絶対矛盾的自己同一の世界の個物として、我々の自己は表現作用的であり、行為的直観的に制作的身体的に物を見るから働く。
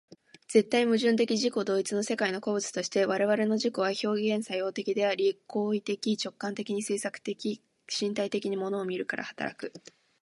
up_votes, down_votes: 3, 0